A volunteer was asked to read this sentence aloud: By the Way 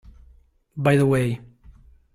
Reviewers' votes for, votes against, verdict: 2, 0, accepted